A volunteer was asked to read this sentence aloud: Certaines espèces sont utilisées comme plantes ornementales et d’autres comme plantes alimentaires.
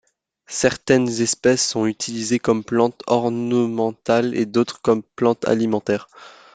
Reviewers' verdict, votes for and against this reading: accepted, 2, 0